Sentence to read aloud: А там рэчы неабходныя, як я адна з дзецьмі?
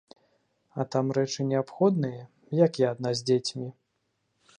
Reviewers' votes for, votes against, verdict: 2, 0, accepted